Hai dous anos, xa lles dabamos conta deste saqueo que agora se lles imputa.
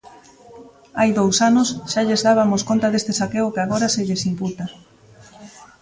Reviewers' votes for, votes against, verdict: 0, 3, rejected